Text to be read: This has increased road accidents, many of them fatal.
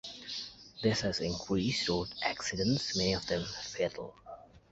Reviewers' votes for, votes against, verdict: 1, 2, rejected